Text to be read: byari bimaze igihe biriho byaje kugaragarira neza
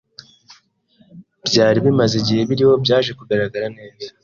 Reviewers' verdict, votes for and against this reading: rejected, 1, 2